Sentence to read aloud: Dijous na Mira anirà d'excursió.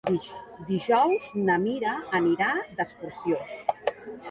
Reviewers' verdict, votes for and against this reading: accepted, 3, 0